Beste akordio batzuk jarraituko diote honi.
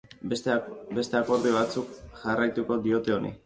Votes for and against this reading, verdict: 1, 2, rejected